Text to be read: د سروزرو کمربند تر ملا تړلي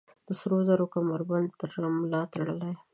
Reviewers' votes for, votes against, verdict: 2, 1, accepted